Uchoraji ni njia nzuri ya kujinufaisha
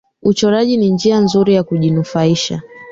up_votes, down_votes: 2, 0